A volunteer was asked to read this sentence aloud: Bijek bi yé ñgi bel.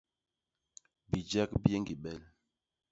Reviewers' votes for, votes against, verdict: 2, 1, accepted